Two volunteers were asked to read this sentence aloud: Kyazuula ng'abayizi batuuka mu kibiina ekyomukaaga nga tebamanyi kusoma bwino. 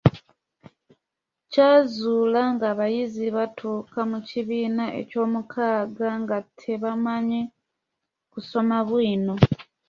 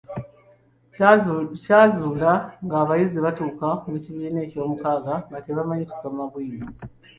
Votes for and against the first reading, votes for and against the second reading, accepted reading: 2, 0, 0, 2, first